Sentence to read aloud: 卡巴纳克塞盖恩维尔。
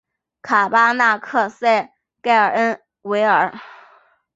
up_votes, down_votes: 0, 3